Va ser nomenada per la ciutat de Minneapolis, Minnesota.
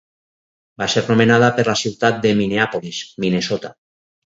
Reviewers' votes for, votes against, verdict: 4, 0, accepted